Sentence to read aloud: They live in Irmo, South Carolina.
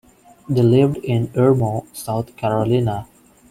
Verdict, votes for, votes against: accepted, 2, 0